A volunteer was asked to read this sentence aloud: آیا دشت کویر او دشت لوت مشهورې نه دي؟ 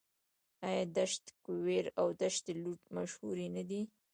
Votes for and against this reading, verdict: 0, 2, rejected